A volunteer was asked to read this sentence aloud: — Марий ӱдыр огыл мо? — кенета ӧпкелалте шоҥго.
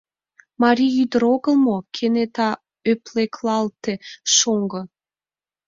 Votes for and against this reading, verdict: 1, 2, rejected